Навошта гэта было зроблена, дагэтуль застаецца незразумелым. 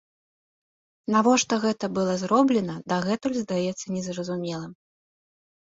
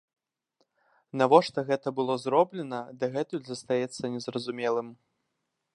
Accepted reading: second